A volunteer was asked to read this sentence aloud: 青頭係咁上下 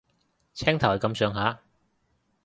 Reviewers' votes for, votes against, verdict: 2, 0, accepted